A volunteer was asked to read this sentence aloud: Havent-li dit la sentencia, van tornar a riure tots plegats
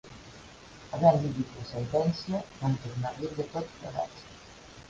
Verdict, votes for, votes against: rejected, 4, 5